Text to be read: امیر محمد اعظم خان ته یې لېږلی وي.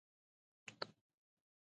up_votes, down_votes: 0, 2